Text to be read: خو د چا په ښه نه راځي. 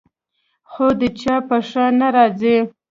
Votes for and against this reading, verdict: 1, 2, rejected